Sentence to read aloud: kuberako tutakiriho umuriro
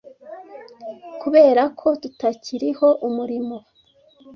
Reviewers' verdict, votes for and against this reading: rejected, 1, 2